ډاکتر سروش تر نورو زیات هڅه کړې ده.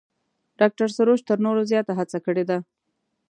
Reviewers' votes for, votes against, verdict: 2, 0, accepted